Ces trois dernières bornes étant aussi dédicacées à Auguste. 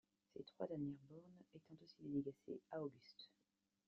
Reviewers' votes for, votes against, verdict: 2, 1, accepted